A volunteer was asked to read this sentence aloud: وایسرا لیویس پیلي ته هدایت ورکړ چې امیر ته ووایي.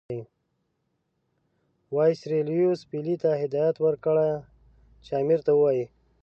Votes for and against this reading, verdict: 1, 2, rejected